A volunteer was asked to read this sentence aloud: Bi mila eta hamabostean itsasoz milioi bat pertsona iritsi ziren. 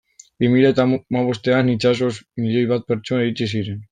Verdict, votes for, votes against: rejected, 1, 2